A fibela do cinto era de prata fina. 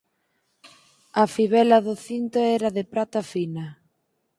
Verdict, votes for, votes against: accepted, 4, 0